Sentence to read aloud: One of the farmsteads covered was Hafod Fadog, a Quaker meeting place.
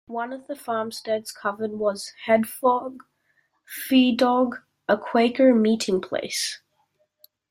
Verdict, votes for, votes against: accepted, 2, 0